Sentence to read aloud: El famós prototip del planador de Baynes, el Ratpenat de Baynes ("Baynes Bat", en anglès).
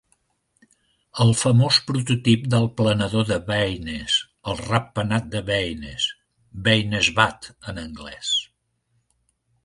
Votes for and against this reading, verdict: 2, 0, accepted